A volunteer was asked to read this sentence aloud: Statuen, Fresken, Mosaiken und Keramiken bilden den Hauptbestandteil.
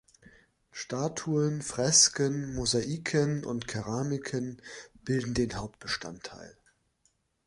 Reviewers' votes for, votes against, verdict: 2, 0, accepted